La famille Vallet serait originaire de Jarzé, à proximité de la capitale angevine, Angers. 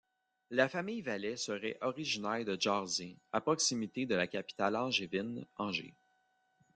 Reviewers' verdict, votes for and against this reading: accepted, 2, 1